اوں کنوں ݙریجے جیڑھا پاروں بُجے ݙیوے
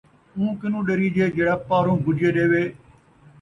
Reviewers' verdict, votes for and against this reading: accepted, 2, 0